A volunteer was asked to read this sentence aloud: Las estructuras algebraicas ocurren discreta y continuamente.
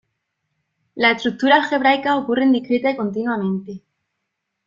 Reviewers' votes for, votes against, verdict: 1, 2, rejected